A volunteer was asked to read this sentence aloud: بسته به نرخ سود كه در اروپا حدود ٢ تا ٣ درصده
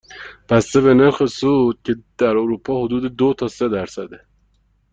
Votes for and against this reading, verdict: 0, 2, rejected